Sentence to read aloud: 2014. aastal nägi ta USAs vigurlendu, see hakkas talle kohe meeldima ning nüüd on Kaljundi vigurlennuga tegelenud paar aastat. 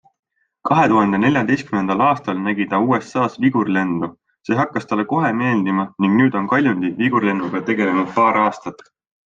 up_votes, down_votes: 0, 2